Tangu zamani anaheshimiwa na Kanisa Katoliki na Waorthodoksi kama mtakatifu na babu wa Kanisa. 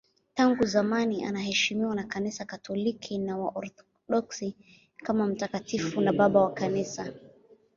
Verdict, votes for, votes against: rejected, 1, 2